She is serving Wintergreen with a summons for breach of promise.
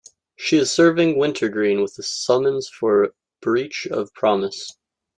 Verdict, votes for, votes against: accepted, 2, 0